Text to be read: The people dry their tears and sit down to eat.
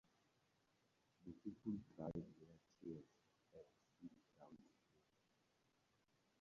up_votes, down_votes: 0, 4